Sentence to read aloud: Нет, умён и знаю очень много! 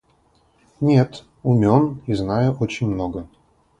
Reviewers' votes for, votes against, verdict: 4, 0, accepted